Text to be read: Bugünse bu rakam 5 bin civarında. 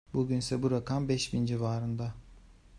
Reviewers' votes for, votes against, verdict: 0, 2, rejected